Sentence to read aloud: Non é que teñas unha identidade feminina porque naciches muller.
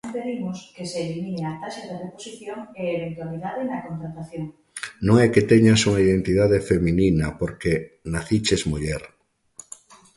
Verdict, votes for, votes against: rejected, 0, 2